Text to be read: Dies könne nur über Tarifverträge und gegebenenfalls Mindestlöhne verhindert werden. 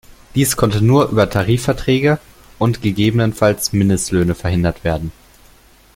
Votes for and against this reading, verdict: 0, 2, rejected